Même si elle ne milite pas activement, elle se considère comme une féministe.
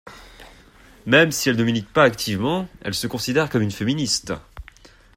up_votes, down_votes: 2, 0